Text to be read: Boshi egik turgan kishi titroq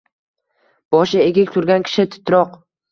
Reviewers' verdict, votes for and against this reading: accepted, 2, 0